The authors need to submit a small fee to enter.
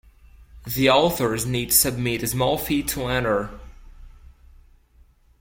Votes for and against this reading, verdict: 2, 0, accepted